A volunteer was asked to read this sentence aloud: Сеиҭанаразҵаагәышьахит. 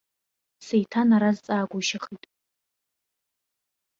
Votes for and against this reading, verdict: 2, 0, accepted